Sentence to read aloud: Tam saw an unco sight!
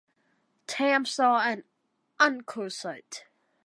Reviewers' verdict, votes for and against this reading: accepted, 2, 0